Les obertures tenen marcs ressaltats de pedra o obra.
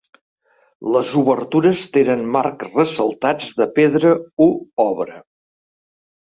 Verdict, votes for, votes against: rejected, 0, 2